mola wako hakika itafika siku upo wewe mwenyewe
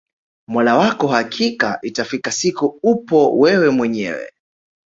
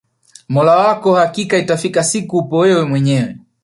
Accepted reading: first